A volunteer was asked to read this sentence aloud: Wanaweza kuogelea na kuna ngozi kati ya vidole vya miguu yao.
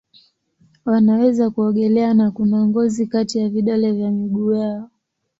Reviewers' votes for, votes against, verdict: 6, 0, accepted